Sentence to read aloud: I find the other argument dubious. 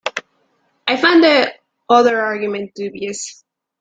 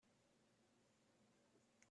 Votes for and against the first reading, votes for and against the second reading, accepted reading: 3, 0, 0, 2, first